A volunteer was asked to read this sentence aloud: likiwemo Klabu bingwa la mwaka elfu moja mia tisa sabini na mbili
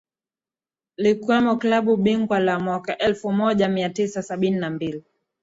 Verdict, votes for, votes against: rejected, 3, 3